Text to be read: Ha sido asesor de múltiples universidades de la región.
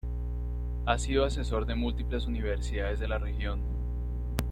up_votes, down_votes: 2, 0